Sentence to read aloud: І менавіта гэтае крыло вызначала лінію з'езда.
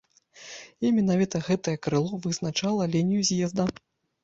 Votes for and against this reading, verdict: 2, 0, accepted